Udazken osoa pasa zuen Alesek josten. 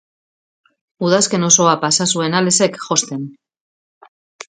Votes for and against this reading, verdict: 2, 0, accepted